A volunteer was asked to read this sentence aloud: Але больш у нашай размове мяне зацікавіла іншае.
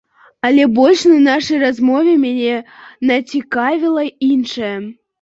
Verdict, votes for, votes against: rejected, 0, 2